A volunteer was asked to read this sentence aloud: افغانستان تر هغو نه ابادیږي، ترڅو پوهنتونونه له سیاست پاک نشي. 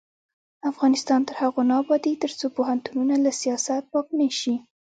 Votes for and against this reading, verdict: 1, 2, rejected